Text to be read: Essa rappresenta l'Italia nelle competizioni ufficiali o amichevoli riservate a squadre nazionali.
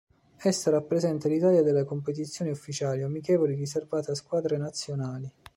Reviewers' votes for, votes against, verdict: 1, 2, rejected